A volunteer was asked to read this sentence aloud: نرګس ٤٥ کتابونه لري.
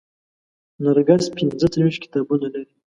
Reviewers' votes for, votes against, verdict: 0, 2, rejected